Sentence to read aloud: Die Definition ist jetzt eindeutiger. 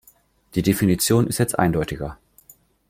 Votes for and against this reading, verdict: 2, 0, accepted